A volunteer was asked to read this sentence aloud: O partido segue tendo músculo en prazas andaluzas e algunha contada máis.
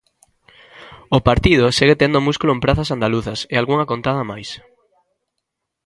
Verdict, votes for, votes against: accepted, 3, 1